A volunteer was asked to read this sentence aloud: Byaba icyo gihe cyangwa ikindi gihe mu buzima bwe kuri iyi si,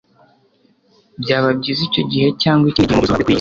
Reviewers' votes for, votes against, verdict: 0, 2, rejected